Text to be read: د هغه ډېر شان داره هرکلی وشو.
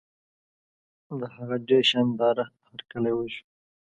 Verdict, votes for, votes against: accepted, 2, 0